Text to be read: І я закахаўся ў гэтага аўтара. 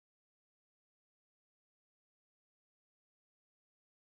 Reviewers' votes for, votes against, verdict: 0, 3, rejected